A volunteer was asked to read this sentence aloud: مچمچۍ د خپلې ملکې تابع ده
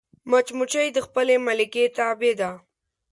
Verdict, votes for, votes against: accepted, 8, 0